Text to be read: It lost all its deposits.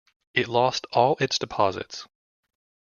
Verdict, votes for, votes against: accepted, 2, 0